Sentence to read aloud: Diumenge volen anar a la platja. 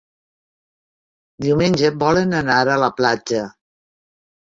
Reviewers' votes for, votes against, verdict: 3, 0, accepted